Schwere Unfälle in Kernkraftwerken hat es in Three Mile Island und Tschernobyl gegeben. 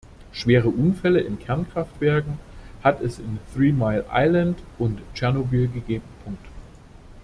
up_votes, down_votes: 0, 2